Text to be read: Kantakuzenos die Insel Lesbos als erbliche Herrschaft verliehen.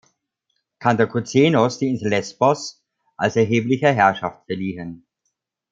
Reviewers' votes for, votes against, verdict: 0, 2, rejected